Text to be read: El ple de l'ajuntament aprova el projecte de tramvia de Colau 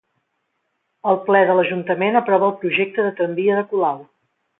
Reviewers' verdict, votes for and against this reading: accepted, 3, 0